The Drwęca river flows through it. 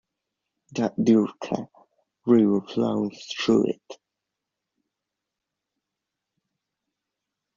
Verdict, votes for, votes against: accepted, 2, 1